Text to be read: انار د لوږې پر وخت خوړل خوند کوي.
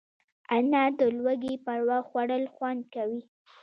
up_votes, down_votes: 2, 0